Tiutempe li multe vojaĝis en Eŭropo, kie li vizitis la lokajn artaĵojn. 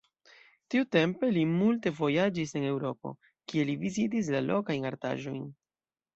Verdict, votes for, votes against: accepted, 2, 0